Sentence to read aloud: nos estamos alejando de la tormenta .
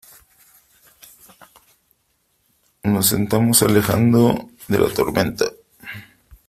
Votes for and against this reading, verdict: 0, 2, rejected